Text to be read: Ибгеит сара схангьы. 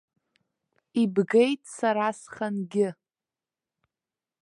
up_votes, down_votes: 1, 2